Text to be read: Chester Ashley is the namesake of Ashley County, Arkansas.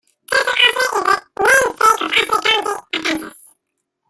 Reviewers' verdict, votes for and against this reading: rejected, 0, 2